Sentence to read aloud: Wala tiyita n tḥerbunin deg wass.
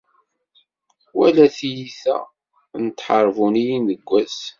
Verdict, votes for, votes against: accepted, 2, 0